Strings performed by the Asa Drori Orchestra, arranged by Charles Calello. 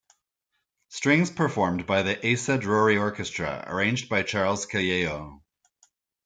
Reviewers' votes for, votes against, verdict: 2, 1, accepted